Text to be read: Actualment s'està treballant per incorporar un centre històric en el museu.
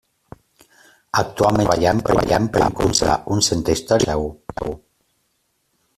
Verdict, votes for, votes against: rejected, 0, 2